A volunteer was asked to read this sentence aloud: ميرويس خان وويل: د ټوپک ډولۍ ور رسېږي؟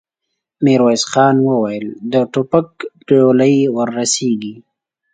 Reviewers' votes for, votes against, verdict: 2, 0, accepted